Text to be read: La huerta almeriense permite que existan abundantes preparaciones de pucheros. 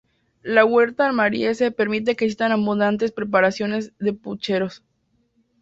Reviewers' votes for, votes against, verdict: 2, 0, accepted